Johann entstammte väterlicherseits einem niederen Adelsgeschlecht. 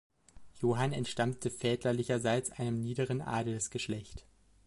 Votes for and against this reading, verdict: 2, 1, accepted